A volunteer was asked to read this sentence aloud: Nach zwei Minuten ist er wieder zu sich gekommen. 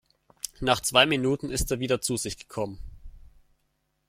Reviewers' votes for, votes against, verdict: 2, 0, accepted